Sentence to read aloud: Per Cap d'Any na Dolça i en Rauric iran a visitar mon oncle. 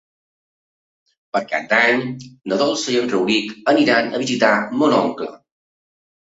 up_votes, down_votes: 1, 2